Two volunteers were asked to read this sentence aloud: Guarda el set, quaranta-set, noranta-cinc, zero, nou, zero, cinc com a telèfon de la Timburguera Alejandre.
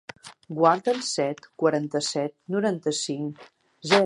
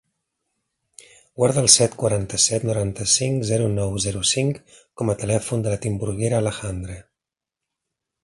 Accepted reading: second